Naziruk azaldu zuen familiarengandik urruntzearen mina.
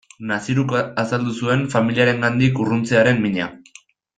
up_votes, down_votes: 1, 2